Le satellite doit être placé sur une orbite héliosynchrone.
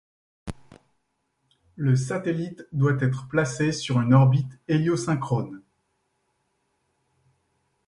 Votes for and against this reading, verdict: 2, 0, accepted